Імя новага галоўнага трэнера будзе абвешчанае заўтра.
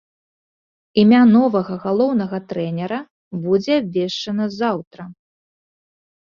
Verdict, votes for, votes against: rejected, 0, 2